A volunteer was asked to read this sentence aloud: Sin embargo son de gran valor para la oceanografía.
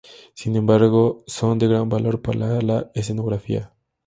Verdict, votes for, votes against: rejected, 0, 4